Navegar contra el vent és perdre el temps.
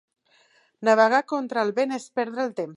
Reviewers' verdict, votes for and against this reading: rejected, 0, 2